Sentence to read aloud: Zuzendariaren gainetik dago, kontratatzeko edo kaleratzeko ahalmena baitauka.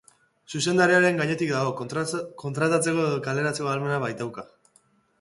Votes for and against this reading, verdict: 2, 2, rejected